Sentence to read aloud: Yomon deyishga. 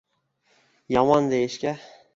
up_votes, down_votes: 1, 2